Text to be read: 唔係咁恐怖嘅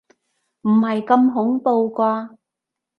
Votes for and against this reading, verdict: 1, 2, rejected